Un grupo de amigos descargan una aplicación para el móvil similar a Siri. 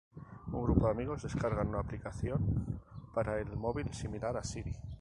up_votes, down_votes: 2, 2